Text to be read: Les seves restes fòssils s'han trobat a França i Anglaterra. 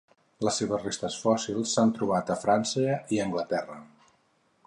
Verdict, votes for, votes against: accepted, 4, 0